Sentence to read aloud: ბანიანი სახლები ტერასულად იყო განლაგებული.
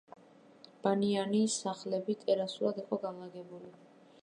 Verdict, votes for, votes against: rejected, 0, 2